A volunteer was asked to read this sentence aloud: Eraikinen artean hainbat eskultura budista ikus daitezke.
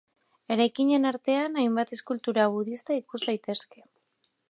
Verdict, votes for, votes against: accepted, 2, 0